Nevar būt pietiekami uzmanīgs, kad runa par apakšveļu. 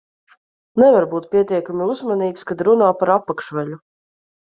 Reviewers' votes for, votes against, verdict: 1, 2, rejected